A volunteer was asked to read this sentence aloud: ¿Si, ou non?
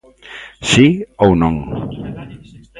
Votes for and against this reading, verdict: 1, 2, rejected